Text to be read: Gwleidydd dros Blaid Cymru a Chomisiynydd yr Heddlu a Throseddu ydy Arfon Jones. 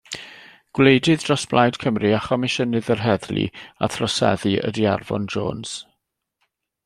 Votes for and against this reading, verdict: 2, 0, accepted